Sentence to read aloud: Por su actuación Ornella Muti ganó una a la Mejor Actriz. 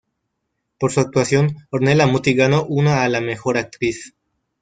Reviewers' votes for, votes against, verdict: 2, 3, rejected